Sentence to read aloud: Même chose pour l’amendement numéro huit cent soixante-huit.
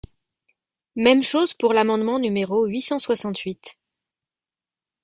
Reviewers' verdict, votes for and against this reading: accepted, 2, 0